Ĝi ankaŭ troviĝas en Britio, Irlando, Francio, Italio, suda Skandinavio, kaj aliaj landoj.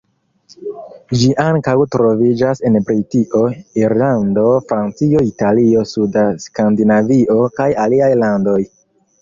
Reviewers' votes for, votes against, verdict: 1, 2, rejected